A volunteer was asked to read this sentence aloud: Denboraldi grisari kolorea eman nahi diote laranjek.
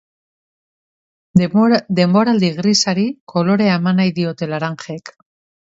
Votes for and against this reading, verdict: 0, 2, rejected